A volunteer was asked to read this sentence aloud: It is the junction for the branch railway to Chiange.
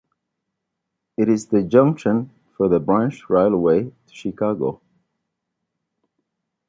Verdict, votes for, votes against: accepted, 2, 0